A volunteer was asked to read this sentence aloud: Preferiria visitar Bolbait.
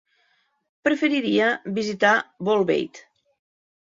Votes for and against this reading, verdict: 3, 0, accepted